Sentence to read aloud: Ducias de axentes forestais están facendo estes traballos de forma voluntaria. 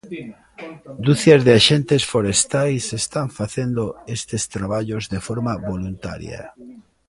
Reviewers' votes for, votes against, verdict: 2, 1, accepted